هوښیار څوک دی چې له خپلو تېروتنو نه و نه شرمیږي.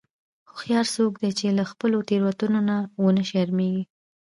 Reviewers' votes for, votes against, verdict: 2, 0, accepted